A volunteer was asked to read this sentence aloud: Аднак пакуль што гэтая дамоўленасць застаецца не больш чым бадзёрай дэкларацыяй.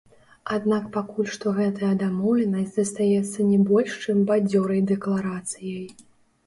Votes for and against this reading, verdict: 1, 2, rejected